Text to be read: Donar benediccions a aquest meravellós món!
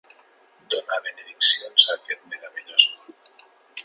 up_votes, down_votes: 1, 3